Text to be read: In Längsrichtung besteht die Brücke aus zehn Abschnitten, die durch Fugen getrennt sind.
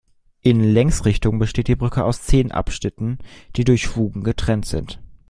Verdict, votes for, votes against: accepted, 2, 0